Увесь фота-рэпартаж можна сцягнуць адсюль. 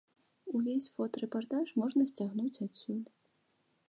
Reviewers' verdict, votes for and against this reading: accepted, 2, 0